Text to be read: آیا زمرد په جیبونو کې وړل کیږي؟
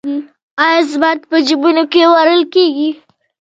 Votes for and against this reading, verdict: 1, 2, rejected